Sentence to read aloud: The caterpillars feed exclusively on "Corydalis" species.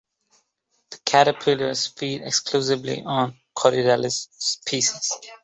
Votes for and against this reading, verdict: 2, 1, accepted